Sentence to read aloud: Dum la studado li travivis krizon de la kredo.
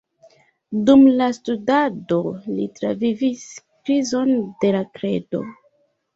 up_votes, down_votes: 2, 0